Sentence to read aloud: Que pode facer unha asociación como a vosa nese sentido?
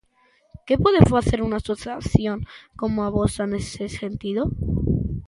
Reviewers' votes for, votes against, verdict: 1, 2, rejected